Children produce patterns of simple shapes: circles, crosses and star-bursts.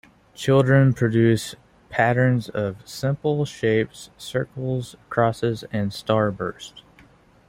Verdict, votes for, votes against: rejected, 0, 2